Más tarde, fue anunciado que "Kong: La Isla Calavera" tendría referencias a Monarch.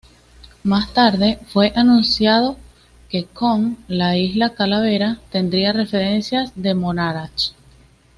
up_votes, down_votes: 1, 2